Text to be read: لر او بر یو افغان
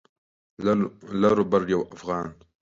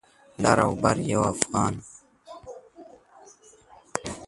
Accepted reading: second